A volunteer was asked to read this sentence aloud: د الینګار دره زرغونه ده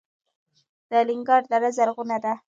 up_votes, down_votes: 2, 0